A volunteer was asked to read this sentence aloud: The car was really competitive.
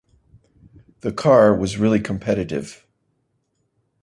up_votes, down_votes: 2, 0